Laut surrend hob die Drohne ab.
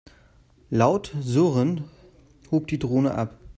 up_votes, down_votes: 0, 2